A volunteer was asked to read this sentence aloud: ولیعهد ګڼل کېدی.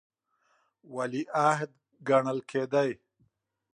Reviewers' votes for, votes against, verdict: 2, 0, accepted